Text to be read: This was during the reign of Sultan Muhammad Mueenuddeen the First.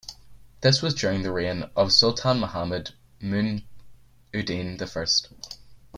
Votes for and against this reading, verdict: 4, 7, rejected